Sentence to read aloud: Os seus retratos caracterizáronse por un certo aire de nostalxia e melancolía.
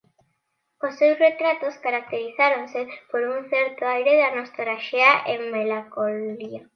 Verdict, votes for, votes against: rejected, 0, 2